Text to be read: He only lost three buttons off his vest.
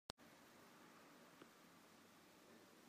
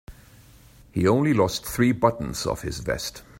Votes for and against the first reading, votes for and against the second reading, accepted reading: 0, 2, 2, 0, second